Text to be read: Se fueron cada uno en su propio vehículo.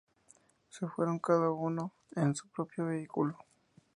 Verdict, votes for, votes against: accepted, 2, 0